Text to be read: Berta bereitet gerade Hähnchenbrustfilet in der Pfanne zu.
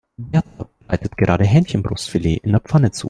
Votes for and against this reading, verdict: 2, 1, accepted